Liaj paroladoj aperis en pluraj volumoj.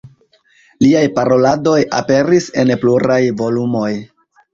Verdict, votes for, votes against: rejected, 1, 2